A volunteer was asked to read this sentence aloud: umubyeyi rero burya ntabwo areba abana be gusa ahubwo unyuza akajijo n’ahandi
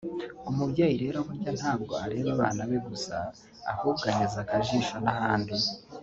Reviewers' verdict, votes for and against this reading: rejected, 0, 2